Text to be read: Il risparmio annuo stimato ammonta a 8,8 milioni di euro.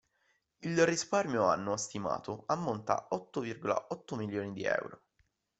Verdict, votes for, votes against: rejected, 0, 2